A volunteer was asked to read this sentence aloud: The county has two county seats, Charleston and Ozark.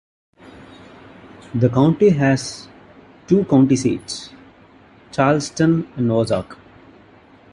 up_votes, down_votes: 2, 1